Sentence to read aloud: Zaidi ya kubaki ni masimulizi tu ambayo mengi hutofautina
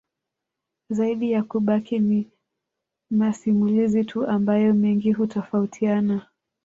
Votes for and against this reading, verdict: 2, 0, accepted